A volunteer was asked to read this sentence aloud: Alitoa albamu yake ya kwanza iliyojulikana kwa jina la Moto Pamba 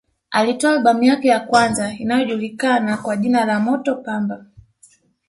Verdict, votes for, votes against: rejected, 0, 2